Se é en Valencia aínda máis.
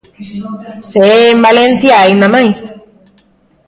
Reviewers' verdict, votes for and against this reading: rejected, 1, 2